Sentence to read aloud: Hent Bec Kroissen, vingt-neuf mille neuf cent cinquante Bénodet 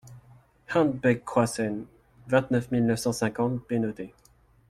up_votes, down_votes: 2, 0